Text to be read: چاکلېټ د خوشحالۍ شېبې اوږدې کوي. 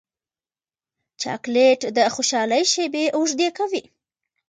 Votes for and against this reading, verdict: 2, 0, accepted